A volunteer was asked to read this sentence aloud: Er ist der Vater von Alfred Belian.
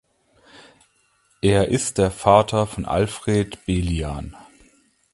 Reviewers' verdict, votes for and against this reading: accepted, 2, 0